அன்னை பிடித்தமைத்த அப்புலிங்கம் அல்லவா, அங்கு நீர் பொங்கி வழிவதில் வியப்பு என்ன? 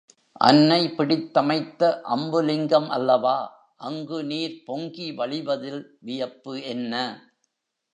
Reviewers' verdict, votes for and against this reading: rejected, 1, 3